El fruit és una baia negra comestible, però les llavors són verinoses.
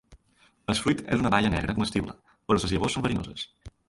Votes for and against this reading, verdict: 1, 2, rejected